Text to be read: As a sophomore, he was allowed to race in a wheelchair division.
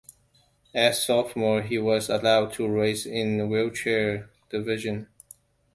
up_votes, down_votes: 1, 2